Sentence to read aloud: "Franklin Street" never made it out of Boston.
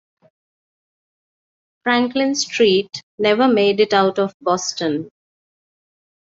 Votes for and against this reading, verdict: 2, 0, accepted